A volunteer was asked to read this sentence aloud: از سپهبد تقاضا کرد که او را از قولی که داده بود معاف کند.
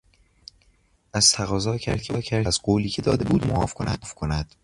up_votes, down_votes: 0, 2